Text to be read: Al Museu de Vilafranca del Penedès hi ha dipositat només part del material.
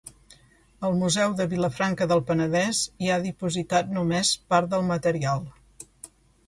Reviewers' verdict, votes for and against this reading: accepted, 2, 0